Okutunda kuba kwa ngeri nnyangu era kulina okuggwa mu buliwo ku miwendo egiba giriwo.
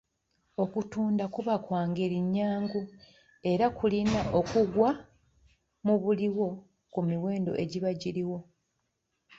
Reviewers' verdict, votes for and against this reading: rejected, 1, 2